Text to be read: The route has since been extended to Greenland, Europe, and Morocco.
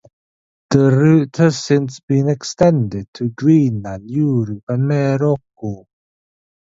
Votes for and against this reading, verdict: 1, 2, rejected